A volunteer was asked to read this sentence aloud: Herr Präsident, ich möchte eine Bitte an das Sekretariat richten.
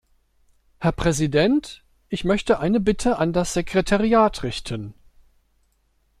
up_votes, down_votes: 2, 0